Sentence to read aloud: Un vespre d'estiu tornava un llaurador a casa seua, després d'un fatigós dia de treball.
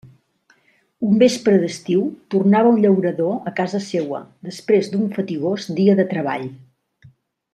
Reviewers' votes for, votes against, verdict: 2, 0, accepted